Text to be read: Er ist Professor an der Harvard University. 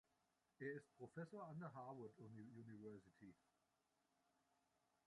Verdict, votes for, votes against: rejected, 1, 2